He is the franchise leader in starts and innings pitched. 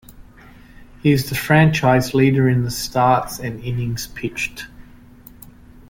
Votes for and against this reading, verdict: 1, 2, rejected